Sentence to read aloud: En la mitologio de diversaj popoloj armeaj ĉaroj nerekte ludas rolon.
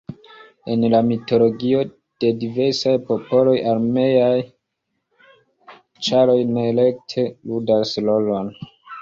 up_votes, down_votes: 2, 1